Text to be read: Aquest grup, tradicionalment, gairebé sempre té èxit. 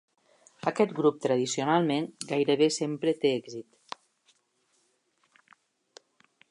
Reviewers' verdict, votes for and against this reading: accepted, 3, 0